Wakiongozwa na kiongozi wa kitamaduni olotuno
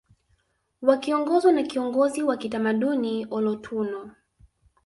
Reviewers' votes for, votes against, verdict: 2, 1, accepted